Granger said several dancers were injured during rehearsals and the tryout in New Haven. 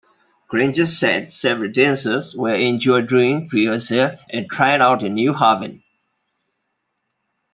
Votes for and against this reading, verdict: 0, 2, rejected